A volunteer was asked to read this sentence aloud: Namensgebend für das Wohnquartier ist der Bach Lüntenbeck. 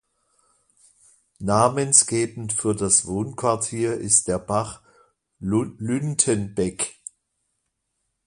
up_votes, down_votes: 2, 0